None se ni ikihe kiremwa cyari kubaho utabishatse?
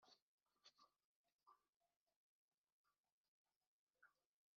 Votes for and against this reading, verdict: 0, 2, rejected